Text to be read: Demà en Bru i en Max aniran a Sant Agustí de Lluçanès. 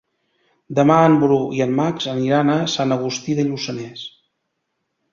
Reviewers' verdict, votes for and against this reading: accepted, 3, 0